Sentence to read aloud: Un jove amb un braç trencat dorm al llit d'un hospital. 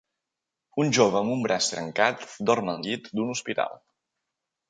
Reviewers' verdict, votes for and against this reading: accepted, 5, 0